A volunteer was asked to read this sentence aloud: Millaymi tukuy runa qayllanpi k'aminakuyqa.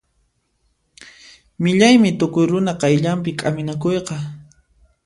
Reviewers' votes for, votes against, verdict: 2, 0, accepted